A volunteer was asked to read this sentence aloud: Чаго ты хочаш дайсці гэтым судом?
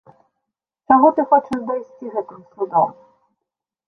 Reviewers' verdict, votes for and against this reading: rejected, 1, 2